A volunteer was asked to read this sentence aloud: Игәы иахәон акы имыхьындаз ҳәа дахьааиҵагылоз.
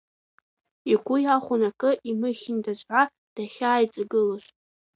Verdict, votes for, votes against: rejected, 0, 2